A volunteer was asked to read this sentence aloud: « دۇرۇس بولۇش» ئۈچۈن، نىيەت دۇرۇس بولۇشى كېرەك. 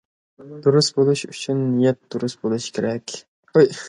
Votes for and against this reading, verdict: 2, 0, accepted